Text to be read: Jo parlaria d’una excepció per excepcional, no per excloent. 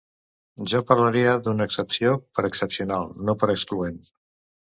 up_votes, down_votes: 2, 0